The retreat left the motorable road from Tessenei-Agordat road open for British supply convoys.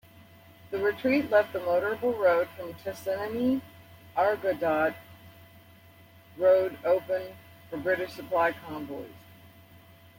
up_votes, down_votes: 2, 0